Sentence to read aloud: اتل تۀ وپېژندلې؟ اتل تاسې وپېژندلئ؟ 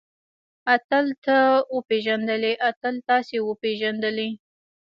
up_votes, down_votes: 1, 2